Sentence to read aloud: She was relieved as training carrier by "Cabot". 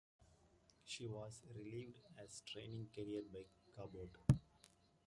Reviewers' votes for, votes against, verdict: 0, 2, rejected